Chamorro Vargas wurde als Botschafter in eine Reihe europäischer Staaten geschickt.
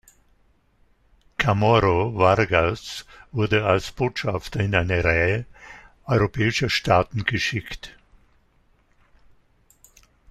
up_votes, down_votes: 1, 2